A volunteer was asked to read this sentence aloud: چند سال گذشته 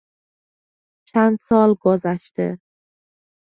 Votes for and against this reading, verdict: 3, 0, accepted